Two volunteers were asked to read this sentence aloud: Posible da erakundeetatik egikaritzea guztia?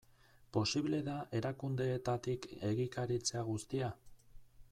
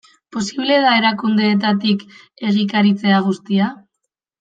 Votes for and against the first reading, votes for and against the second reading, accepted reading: 2, 2, 2, 0, second